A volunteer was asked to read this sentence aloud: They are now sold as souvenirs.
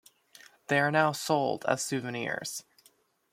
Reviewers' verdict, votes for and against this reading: rejected, 0, 2